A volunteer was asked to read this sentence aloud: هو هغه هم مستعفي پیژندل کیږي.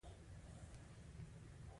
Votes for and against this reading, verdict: 1, 2, rejected